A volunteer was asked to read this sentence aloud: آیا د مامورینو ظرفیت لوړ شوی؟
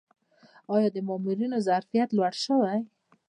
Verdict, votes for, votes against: rejected, 0, 2